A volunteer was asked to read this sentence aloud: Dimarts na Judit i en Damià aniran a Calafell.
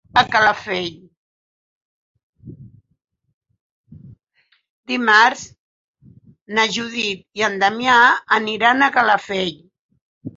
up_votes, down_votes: 0, 4